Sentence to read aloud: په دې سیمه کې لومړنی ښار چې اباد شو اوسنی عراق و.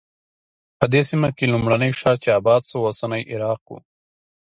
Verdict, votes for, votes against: accepted, 3, 0